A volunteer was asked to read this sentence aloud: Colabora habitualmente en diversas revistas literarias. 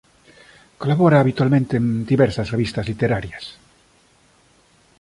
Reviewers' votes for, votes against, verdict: 2, 0, accepted